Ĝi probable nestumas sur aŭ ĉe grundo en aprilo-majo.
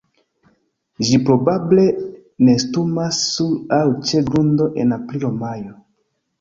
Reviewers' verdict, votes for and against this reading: accepted, 2, 1